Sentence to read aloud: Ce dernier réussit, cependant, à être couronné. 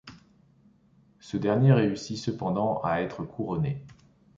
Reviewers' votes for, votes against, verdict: 2, 0, accepted